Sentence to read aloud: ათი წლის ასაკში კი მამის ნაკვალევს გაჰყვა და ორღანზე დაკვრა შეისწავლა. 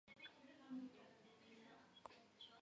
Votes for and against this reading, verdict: 1, 2, rejected